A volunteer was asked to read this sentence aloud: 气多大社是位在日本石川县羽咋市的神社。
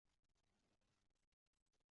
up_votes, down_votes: 0, 3